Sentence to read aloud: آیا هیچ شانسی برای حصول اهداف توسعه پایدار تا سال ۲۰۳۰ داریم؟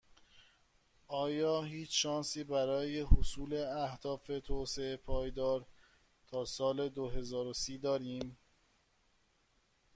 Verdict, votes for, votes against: rejected, 0, 2